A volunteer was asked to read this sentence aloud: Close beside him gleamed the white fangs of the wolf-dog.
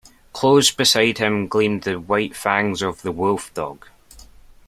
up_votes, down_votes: 2, 0